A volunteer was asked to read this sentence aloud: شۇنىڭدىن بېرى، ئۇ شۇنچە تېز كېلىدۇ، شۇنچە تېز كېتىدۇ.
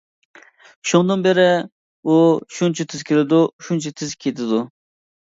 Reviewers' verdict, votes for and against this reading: accepted, 2, 0